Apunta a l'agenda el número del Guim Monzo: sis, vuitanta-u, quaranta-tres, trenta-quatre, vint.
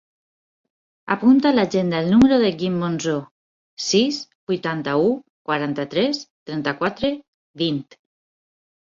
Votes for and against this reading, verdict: 0, 4, rejected